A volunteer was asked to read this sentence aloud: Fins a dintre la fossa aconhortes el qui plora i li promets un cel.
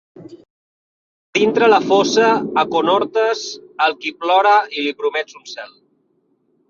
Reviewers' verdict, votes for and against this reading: rejected, 1, 2